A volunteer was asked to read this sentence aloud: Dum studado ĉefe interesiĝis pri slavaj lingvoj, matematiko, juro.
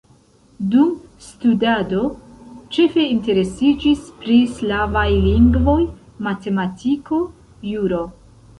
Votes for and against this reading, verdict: 2, 1, accepted